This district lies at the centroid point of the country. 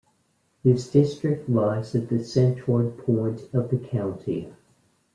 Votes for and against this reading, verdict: 2, 1, accepted